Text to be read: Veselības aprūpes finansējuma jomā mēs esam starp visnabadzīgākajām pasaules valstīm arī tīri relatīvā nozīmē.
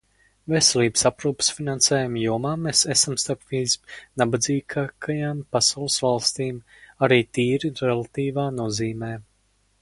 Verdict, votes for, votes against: rejected, 2, 2